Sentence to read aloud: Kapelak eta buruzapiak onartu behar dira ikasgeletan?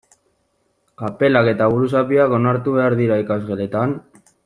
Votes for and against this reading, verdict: 0, 2, rejected